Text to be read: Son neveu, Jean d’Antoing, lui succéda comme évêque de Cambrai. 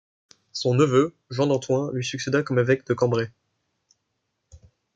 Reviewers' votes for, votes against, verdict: 2, 0, accepted